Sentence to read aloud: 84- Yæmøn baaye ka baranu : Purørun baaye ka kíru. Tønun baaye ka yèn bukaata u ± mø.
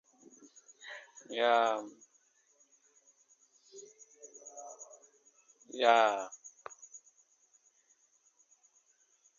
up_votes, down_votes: 0, 2